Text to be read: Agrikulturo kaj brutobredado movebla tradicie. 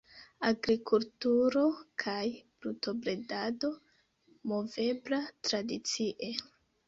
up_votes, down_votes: 3, 0